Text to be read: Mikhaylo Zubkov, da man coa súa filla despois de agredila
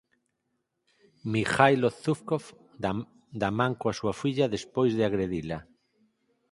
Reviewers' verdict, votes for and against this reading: rejected, 2, 4